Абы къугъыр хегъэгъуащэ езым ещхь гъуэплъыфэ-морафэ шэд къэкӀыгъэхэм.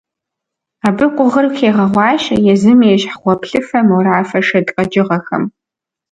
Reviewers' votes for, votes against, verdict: 2, 0, accepted